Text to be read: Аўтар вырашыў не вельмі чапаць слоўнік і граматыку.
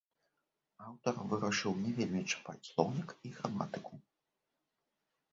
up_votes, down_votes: 0, 2